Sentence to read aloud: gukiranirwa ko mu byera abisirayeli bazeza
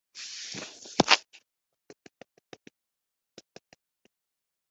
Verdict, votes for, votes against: rejected, 0, 2